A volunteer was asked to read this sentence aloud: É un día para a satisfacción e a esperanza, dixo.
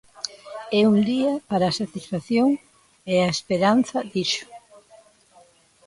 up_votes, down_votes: 0, 2